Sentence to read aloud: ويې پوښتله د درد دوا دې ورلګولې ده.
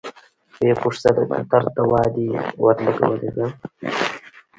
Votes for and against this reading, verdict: 2, 1, accepted